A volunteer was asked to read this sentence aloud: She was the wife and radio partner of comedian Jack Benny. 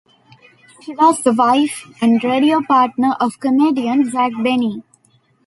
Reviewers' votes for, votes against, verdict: 2, 0, accepted